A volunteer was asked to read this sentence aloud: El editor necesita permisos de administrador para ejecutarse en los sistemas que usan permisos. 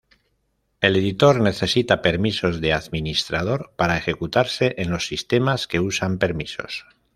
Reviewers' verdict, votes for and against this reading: accepted, 2, 0